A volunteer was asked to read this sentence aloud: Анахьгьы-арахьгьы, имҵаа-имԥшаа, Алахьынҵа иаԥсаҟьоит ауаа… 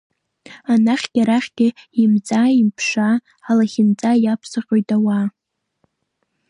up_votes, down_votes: 1, 2